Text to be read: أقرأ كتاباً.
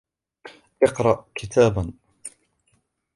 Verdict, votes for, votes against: rejected, 1, 2